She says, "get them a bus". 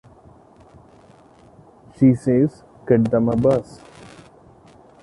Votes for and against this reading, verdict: 2, 1, accepted